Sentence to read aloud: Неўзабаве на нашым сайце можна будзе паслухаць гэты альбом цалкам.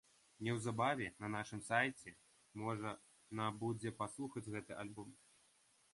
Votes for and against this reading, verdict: 0, 2, rejected